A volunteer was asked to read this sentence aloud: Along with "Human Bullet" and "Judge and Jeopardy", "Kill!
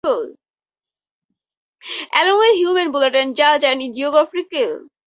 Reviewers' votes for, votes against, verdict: 0, 4, rejected